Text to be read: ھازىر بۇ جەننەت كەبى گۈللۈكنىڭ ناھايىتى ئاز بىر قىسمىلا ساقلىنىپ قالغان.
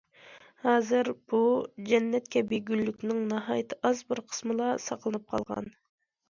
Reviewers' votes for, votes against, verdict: 2, 0, accepted